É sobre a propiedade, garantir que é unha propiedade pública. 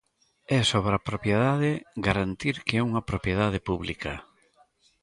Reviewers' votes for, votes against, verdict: 2, 0, accepted